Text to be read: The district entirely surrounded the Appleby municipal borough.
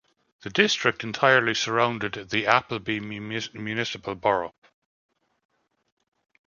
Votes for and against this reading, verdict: 0, 2, rejected